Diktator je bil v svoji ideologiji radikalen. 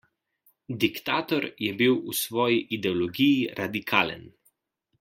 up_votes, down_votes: 2, 0